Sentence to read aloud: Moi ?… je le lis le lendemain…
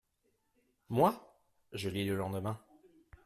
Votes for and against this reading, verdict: 1, 2, rejected